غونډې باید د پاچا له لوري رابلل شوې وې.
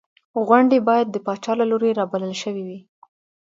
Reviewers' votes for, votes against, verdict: 2, 0, accepted